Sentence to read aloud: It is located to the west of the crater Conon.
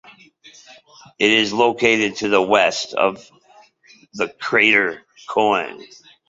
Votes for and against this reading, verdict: 0, 2, rejected